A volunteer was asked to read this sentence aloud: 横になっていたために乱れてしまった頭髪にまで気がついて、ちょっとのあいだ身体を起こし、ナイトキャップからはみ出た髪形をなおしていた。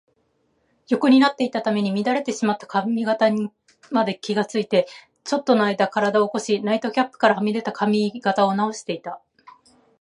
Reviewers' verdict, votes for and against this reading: rejected, 0, 2